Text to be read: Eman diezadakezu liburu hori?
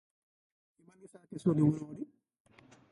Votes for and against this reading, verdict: 0, 2, rejected